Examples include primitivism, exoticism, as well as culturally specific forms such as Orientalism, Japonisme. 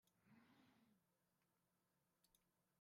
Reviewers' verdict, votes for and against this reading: rejected, 1, 2